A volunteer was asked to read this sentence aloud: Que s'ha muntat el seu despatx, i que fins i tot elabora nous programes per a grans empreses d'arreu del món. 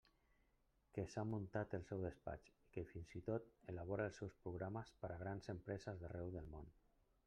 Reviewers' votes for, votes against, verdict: 0, 2, rejected